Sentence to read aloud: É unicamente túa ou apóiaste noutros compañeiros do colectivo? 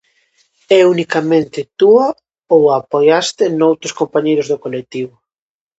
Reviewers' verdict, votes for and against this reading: rejected, 0, 2